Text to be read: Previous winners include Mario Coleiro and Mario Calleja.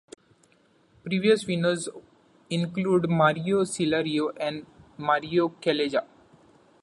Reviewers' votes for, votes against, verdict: 0, 2, rejected